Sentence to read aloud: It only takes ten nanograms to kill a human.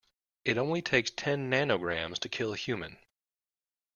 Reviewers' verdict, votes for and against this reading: accepted, 2, 0